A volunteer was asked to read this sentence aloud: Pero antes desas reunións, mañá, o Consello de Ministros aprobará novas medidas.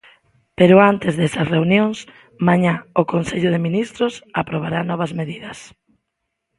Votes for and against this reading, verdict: 2, 0, accepted